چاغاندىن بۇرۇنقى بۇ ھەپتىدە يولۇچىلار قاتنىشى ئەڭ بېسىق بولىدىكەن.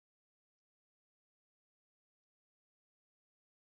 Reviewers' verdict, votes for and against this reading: rejected, 0, 2